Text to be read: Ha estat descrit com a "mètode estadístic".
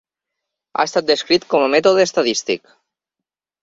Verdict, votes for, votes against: accepted, 4, 0